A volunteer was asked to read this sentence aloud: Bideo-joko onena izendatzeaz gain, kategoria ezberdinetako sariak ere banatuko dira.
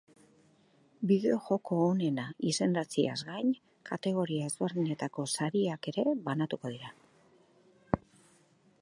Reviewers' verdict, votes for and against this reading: rejected, 0, 2